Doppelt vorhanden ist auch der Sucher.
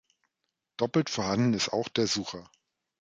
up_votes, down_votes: 3, 2